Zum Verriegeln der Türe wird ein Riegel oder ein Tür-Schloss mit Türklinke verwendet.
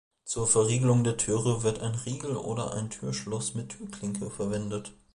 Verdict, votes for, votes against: rejected, 1, 2